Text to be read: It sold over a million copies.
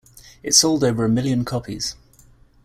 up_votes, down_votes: 2, 0